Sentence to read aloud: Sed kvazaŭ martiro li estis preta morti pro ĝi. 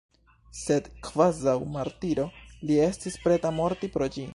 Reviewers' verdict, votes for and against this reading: rejected, 1, 2